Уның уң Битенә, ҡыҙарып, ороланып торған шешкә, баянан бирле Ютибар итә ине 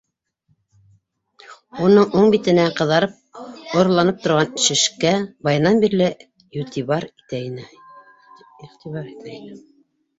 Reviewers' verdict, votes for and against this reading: rejected, 1, 4